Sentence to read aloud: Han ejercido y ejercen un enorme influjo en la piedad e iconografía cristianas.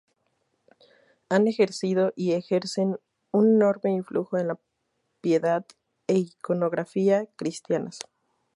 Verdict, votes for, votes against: rejected, 0, 4